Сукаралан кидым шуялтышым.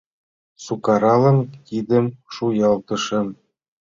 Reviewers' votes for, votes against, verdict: 2, 0, accepted